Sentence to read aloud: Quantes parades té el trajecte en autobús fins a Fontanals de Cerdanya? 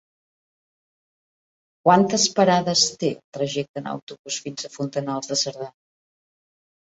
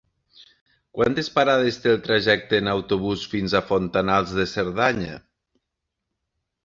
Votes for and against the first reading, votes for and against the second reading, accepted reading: 0, 3, 3, 0, second